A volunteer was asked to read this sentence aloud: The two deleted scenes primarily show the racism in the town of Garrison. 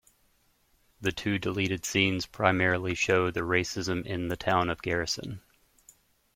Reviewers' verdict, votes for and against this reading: accepted, 2, 0